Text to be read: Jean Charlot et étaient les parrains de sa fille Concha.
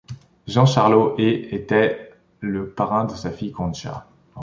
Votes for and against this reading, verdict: 0, 2, rejected